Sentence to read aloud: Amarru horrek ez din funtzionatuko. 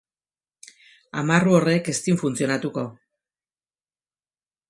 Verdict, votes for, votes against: rejected, 0, 2